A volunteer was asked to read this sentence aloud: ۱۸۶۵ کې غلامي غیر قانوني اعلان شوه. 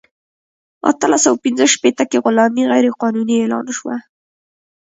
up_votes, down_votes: 0, 2